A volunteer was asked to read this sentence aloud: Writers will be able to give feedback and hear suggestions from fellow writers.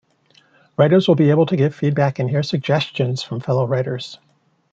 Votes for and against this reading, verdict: 1, 2, rejected